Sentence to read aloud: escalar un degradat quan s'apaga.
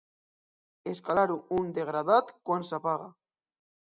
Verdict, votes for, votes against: accepted, 2, 0